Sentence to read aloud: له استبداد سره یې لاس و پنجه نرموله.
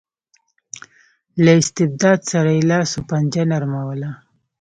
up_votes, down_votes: 0, 2